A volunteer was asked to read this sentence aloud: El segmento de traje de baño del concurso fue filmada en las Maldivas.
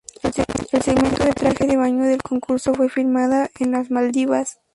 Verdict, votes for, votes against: rejected, 2, 2